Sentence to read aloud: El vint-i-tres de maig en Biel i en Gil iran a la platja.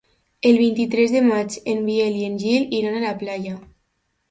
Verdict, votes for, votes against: accepted, 3, 2